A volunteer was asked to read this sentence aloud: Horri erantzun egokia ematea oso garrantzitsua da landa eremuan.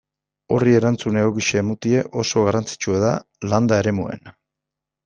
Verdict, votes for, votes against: rejected, 0, 2